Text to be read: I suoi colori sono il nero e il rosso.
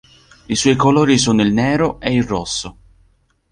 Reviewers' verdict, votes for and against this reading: accepted, 2, 0